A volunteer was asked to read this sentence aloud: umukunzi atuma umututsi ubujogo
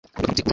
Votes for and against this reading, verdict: 1, 2, rejected